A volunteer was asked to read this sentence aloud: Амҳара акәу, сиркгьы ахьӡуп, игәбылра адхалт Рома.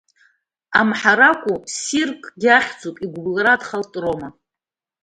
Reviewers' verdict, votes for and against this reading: accepted, 2, 0